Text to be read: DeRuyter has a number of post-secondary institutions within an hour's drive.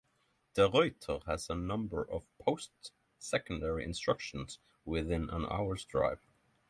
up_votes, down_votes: 3, 6